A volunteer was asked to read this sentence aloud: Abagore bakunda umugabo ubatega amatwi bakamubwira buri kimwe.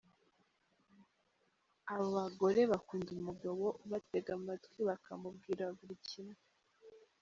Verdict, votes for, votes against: rejected, 0, 2